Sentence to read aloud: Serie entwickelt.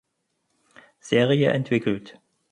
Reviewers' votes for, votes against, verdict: 4, 0, accepted